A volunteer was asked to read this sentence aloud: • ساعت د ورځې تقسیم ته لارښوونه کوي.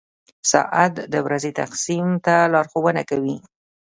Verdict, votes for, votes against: accepted, 2, 0